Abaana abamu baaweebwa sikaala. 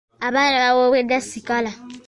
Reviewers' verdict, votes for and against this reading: rejected, 0, 2